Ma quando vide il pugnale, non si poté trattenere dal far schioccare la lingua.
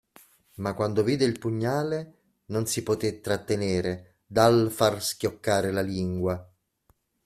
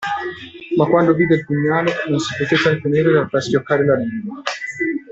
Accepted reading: first